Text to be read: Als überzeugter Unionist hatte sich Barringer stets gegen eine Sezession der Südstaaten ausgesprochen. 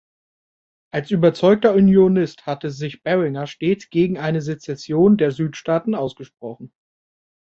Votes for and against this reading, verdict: 2, 0, accepted